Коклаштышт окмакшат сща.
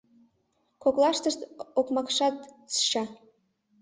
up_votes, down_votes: 2, 1